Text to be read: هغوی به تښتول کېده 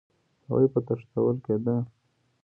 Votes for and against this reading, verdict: 2, 0, accepted